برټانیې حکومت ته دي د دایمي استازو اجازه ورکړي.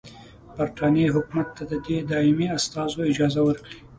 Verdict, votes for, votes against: accepted, 2, 0